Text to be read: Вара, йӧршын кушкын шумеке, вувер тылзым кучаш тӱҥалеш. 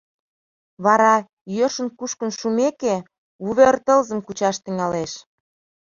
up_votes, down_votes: 2, 0